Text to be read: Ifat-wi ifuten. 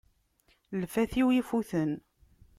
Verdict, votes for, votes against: rejected, 1, 2